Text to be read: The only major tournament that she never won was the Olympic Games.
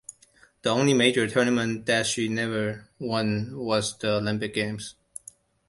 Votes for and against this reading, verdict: 2, 0, accepted